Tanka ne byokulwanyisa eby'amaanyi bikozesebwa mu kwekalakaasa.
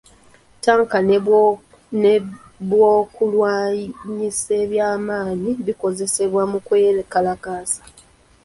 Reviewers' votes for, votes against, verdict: 0, 2, rejected